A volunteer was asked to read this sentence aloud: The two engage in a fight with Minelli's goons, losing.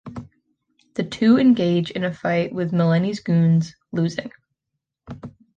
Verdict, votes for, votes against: rejected, 0, 2